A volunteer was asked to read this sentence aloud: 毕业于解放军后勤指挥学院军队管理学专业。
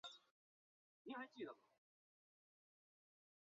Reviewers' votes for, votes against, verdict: 0, 5, rejected